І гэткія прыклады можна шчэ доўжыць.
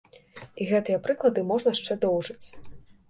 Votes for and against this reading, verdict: 2, 1, accepted